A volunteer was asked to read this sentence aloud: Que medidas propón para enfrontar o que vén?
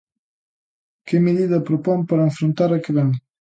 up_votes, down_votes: 0, 2